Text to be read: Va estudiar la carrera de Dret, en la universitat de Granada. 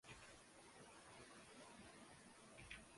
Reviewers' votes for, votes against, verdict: 0, 2, rejected